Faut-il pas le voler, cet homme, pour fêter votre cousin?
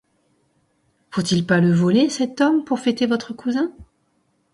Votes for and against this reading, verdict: 2, 0, accepted